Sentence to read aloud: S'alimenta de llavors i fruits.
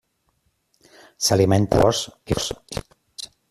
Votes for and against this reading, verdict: 0, 2, rejected